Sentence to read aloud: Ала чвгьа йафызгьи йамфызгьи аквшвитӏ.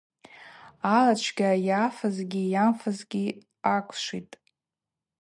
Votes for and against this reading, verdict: 4, 0, accepted